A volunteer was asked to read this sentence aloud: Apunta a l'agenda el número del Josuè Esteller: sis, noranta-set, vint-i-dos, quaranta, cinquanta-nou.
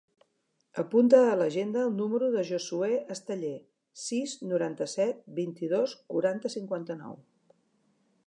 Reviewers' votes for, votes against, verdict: 0, 2, rejected